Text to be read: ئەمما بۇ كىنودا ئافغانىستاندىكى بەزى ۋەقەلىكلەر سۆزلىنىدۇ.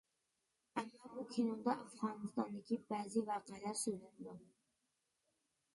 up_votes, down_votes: 0, 2